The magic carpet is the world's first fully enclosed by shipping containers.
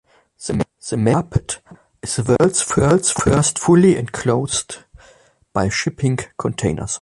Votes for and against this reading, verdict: 0, 2, rejected